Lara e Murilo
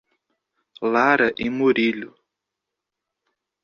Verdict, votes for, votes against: accepted, 3, 0